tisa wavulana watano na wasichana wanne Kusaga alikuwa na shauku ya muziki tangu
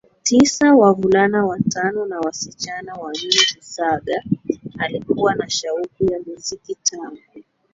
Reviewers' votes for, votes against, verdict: 0, 2, rejected